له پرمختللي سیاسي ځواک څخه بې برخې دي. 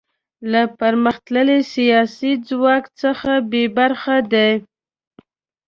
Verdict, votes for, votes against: accepted, 2, 1